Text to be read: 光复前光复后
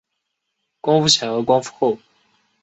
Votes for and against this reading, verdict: 7, 1, accepted